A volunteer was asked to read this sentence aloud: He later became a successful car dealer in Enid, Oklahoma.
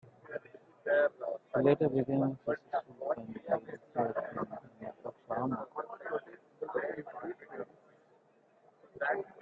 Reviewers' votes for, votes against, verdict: 1, 3, rejected